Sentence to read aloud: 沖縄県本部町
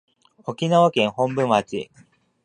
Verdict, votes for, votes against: accepted, 2, 0